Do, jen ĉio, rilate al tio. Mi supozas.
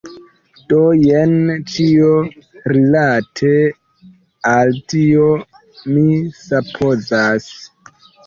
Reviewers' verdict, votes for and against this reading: rejected, 0, 2